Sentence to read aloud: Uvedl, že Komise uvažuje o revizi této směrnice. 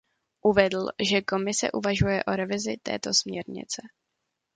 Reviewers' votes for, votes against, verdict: 2, 0, accepted